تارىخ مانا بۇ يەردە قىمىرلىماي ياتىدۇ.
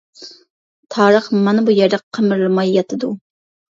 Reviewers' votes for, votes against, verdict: 2, 0, accepted